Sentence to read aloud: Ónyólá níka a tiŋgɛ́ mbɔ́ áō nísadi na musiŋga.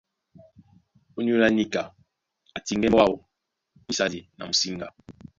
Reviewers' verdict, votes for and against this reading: rejected, 1, 2